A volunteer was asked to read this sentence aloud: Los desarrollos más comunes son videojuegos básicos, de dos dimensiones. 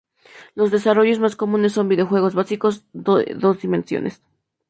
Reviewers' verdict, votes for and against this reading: rejected, 0, 2